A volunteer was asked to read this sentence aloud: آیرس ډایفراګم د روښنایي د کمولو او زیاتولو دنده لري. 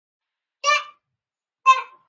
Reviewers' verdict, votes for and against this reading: rejected, 1, 2